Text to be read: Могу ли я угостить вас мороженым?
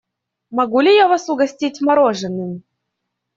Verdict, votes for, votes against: rejected, 0, 2